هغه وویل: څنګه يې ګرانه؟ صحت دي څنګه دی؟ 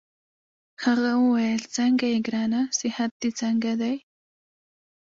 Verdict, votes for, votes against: rejected, 1, 2